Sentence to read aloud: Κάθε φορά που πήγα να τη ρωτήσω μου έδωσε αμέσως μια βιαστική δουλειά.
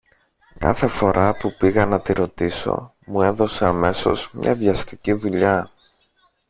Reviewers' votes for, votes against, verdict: 1, 2, rejected